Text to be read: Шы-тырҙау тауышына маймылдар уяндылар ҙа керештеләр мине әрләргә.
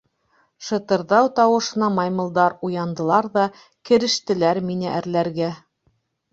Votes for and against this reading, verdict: 2, 0, accepted